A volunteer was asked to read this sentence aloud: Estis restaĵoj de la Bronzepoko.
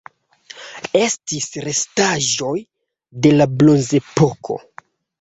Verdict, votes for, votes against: accepted, 2, 0